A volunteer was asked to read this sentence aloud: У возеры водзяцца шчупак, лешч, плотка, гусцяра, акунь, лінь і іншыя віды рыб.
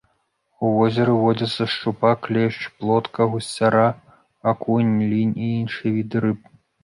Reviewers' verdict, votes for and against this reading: accepted, 2, 0